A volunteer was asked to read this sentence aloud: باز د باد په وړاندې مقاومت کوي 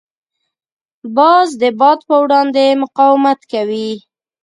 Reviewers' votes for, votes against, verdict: 2, 0, accepted